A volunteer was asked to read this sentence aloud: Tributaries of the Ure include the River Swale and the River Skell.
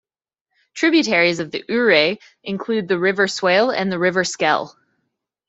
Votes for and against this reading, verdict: 2, 1, accepted